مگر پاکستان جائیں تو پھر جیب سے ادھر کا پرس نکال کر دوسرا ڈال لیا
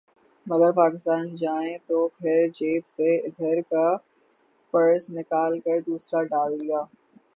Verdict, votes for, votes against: accepted, 3, 0